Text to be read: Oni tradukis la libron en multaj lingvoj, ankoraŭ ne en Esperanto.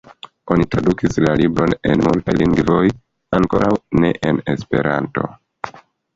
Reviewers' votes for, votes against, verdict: 0, 2, rejected